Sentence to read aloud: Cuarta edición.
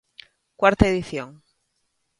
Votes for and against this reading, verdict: 2, 0, accepted